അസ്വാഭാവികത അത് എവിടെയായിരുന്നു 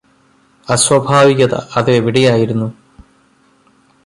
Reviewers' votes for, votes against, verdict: 1, 2, rejected